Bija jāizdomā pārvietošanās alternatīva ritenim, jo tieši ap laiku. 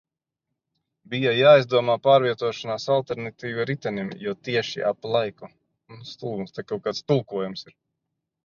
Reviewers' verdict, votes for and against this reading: rejected, 0, 2